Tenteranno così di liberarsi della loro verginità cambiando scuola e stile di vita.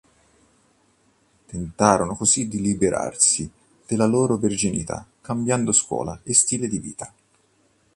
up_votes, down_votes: 1, 2